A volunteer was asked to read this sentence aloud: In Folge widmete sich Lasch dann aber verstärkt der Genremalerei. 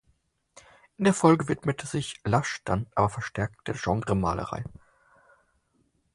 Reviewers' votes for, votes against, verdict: 0, 4, rejected